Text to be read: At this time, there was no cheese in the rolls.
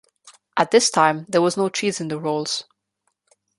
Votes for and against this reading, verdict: 2, 0, accepted